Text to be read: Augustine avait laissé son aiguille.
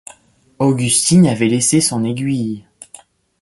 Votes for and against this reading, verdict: 2, 0, accepted